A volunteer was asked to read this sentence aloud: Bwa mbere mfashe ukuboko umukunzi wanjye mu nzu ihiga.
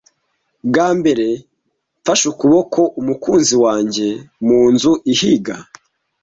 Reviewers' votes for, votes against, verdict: 3, 0, accepted